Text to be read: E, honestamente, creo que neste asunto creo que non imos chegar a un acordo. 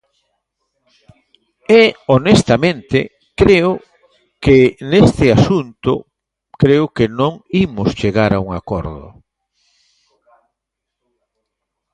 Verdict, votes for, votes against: rejected, 1, 2